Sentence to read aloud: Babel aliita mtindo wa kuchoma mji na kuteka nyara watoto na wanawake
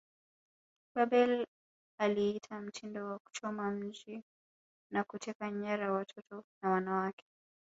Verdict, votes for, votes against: rejected, 2, 3